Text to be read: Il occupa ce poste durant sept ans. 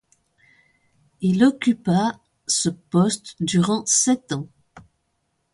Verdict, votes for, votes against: accepted, 2, 0